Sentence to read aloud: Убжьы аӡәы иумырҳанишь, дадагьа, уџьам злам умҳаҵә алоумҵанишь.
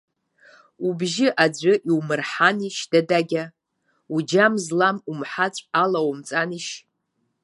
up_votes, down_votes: 0, 2